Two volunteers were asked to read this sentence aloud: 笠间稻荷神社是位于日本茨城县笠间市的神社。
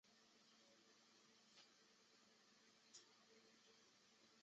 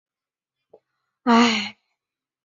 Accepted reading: first